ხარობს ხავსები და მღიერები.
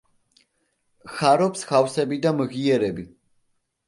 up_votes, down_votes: 2, 0